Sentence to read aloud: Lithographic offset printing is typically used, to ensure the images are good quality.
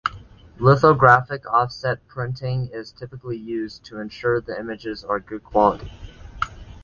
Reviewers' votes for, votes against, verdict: 3, 0, accepted